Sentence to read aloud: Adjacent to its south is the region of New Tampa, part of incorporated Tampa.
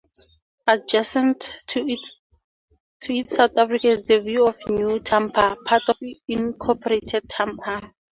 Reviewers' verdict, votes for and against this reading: rejected, 0, 2